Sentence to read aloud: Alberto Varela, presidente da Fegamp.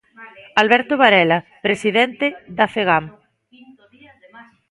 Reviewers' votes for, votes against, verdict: 1, 2, rejected